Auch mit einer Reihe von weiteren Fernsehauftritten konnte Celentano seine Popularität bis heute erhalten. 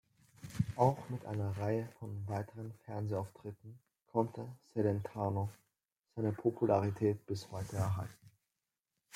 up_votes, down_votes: 2, 0